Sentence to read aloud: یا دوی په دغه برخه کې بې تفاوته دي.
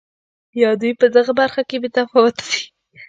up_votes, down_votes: 1, 2